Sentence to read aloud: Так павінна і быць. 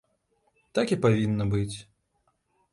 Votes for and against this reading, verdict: 0, 2, rejected